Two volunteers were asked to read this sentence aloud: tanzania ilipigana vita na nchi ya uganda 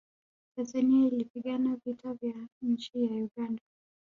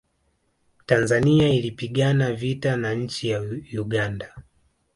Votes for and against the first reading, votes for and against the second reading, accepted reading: 1, 2, 2, 0, second